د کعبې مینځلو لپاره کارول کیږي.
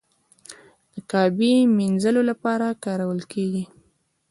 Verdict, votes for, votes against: rejected, 1, 2